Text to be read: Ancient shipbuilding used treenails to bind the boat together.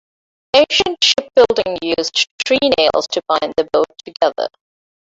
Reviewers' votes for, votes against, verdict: 0, 2, rejected